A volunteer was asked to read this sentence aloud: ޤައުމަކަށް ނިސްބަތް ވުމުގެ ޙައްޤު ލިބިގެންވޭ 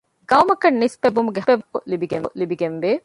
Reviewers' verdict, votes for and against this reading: rejected, 1, 2